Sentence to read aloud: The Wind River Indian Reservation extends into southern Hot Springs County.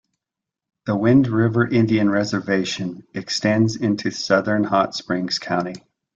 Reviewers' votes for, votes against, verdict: 2, 0, accepted